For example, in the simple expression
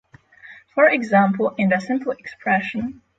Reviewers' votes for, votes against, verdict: 3, 0, accepted